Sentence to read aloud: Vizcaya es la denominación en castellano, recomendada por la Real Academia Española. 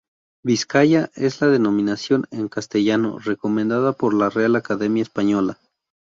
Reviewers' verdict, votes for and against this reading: rejected, 2, 2